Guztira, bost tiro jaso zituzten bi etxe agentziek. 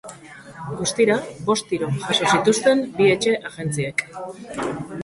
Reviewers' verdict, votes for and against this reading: rejected, 0, 3